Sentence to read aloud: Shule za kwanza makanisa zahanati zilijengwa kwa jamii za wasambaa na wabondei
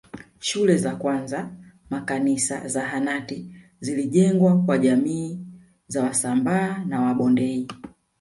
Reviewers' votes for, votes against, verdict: 1, 2, rejected